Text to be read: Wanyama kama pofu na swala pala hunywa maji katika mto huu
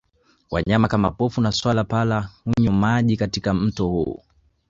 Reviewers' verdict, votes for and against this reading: rejected, 1, 2